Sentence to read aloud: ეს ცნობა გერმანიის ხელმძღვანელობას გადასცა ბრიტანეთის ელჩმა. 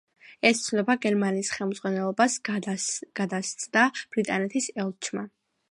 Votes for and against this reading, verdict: 2, 1, accepted